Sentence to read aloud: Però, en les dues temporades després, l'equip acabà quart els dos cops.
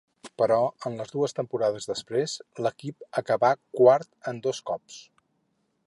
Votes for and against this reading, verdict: 0, 2, rejected